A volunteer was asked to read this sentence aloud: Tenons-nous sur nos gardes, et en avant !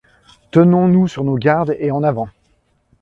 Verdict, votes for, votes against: accepted, 2, 0